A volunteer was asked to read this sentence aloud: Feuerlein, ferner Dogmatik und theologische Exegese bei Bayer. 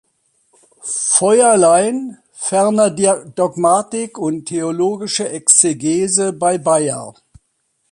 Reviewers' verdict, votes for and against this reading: rejected, 0, 2